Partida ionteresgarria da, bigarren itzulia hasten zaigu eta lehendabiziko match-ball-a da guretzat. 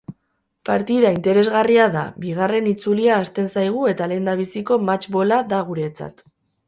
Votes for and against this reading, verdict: 0, 2, rejected